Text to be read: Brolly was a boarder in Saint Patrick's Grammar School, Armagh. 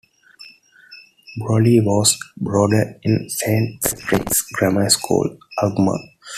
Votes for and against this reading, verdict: 0, 2, rejected